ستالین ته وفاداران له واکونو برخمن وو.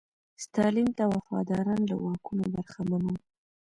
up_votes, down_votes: 2, 1